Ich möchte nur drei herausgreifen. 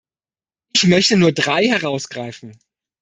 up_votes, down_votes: 2, 1